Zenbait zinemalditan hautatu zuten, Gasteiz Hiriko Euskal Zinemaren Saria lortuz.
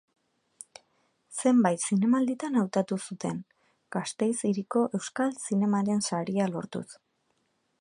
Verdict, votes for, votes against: accepted, 2, 0